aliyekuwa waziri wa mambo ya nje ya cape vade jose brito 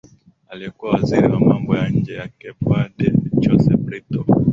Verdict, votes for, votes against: accepted, 7, 3